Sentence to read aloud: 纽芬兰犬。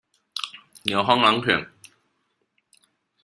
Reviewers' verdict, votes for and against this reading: rejected, 1, 2